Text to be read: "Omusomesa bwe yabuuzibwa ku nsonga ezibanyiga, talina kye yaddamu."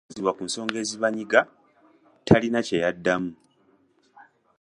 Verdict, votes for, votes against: rejected, 0, 2